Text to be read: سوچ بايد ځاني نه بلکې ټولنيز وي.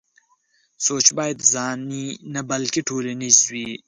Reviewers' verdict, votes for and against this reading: accepted, 4, 0